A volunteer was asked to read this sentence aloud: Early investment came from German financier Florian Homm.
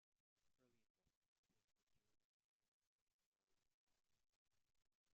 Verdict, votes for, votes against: rejected, 0, 2